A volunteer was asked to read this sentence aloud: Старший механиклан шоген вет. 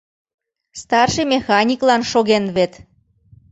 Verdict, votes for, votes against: accepted, 2, 0